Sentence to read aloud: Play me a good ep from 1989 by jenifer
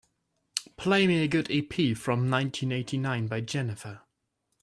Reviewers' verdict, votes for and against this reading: rejected, 0, 2